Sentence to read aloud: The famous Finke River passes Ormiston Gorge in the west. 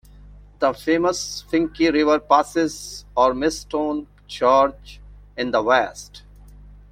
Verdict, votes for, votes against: rejected, 1, 2